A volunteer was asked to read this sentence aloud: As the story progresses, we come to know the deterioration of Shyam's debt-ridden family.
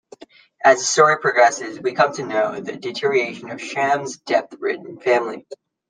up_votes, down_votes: 2, 1